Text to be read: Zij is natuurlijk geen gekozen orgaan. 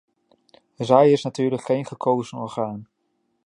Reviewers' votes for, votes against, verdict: 2, 0, accepted